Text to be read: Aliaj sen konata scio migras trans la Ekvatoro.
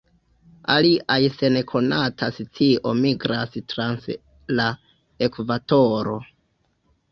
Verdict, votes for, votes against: rejected, 0, 2